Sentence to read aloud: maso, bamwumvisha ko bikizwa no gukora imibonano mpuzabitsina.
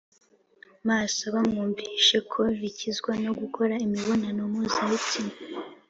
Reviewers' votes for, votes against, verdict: 2, 0, accepted